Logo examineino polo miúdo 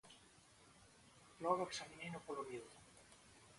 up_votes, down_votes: 0, 2